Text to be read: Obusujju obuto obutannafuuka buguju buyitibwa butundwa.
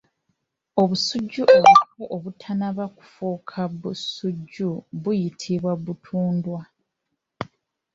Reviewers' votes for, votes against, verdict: 0, 3, rejected